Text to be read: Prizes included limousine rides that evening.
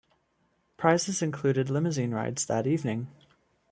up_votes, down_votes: 2, 1